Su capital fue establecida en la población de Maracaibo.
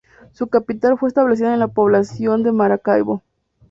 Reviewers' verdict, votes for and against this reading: accepted, 2, 0